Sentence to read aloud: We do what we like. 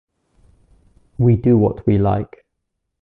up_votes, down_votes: 2, 0